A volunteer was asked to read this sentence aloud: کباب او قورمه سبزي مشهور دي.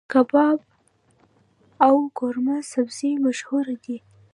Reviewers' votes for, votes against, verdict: 1, 2, rejected